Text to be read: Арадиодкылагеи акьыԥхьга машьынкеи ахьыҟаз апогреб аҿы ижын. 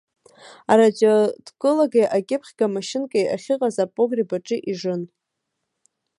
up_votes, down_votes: 1, 4